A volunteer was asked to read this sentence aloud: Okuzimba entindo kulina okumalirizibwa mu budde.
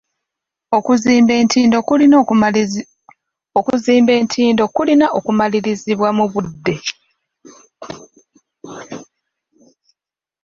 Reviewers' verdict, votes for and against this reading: rejected, 0, 2